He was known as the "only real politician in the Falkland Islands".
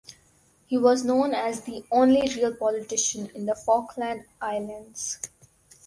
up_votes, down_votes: 4, 0